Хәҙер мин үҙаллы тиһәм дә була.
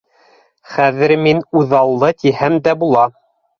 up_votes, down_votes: 2, 0